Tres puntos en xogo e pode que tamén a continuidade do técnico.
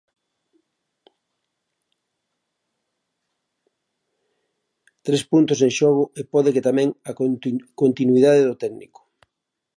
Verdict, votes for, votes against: rejected, 0, 2